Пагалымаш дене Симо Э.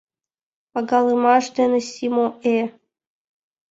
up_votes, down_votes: 2, 0